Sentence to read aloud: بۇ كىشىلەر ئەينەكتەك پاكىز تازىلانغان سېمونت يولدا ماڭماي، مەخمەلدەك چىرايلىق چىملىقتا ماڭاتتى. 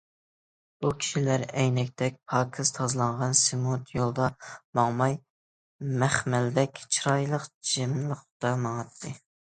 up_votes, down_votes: 2, 0